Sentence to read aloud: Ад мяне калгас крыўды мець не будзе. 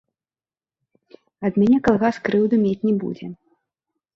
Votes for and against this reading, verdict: 1, 3, rejected